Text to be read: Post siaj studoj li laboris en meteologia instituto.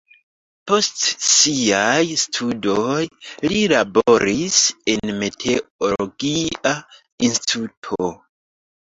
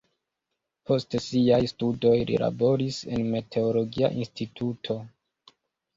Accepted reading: first